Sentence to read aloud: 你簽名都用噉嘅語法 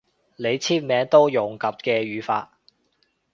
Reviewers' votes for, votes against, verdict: 2, 0, accepted